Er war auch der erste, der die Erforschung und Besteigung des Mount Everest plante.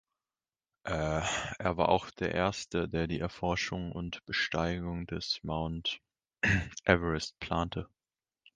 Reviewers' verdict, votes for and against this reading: rejected, 0, 2